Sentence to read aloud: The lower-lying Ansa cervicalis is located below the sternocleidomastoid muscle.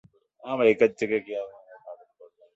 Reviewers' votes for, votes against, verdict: 0, 2, rejected